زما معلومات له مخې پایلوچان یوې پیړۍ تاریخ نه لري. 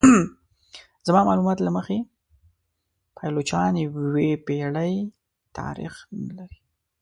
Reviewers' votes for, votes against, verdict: 1, 2, rejected